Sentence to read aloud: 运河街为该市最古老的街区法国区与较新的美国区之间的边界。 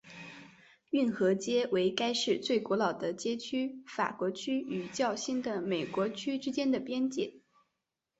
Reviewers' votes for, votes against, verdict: 2, 0, accepted